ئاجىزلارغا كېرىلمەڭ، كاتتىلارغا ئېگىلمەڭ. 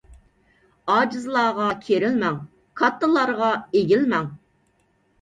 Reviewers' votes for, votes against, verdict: 2, 0, accepted